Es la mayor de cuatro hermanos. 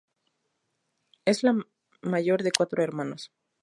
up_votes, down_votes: 6, 0